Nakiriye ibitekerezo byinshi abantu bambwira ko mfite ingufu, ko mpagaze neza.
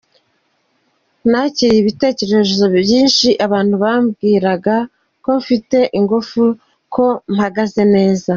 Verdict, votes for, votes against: rejected, 1, 2